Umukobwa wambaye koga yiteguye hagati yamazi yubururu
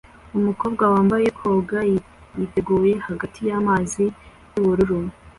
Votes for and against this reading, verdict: 2, 0, accepted